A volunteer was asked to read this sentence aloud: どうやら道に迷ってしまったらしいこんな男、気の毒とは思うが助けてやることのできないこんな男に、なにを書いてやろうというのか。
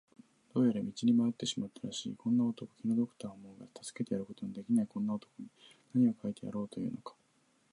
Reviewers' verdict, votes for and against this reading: rejected, 1, 2